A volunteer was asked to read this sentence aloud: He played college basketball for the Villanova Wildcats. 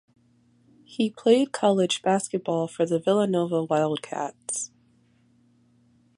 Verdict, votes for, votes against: accepted, 3, 0